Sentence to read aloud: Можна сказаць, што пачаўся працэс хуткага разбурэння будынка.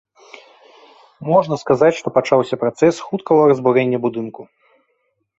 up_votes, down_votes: 1, 2